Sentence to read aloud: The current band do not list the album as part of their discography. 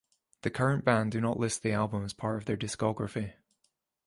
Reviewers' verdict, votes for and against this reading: accepted, 3, 0